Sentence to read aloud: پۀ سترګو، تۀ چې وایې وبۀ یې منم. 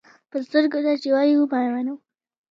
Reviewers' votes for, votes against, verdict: 2, 0, accepted